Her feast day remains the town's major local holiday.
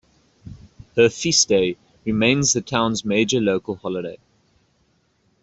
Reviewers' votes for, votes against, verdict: 2, 0, accepted